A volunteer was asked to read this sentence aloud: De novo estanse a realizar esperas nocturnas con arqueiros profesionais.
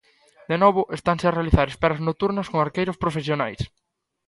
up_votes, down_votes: 2, 0